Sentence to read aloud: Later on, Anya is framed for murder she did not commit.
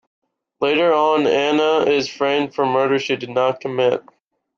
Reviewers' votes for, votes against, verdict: 2, 0, accepted